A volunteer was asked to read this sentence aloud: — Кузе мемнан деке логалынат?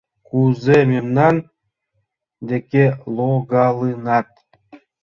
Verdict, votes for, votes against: rejected, 1, 2